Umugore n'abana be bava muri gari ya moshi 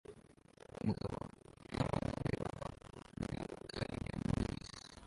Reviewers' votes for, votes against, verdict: 0, 2, rejected